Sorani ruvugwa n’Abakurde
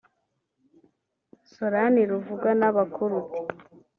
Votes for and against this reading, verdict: 1, 2, rejected